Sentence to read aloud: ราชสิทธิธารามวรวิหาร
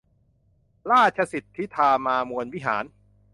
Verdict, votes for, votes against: rejected, 0, 2